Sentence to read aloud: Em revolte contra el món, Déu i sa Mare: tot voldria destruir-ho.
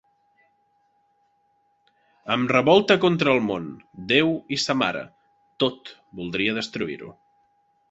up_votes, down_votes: 2, 0